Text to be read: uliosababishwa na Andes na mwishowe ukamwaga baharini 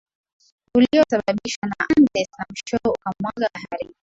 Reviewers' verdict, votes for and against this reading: accepted, 2, 1